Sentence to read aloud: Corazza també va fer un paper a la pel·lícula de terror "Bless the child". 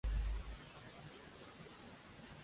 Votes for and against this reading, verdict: 0, 3, rejected